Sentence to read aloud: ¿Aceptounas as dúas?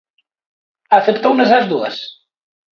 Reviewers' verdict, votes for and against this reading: rejected, 1, 2